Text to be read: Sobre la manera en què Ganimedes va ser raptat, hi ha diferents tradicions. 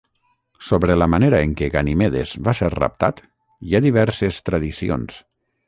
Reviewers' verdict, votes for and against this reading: rejected, 3, 6